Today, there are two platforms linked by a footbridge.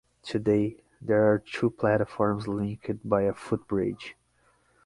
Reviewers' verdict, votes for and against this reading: accepted, 6, 0